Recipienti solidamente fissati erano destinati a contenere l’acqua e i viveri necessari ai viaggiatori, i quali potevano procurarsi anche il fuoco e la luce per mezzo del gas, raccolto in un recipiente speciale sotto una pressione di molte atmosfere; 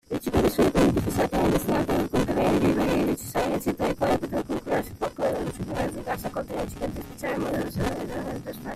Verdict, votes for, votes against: rejected, 0, 2